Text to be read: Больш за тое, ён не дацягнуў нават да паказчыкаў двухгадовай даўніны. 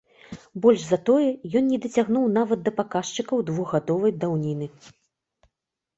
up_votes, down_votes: 3, 0